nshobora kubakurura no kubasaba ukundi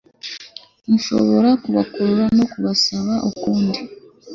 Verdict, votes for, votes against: accepted, 2, 0